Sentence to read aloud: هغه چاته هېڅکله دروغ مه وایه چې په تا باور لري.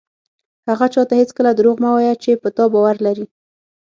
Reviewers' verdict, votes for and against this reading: accepted, 6, 0